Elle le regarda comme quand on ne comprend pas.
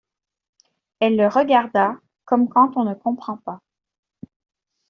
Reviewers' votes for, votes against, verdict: 2, 0, accepted